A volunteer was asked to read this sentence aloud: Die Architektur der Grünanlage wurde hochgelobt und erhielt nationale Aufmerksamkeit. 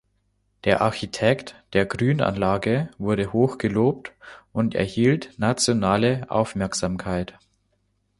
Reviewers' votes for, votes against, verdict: 0, 3, rejected